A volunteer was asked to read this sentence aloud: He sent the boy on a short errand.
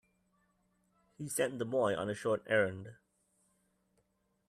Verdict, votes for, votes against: accepted, 2, 1